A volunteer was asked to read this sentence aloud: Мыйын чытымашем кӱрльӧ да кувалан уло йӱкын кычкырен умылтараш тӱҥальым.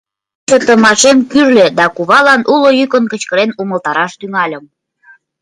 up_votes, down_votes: 1, 2